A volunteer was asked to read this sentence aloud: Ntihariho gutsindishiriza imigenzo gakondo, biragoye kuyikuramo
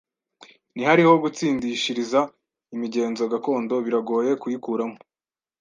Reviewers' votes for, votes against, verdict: 2, 0, accepted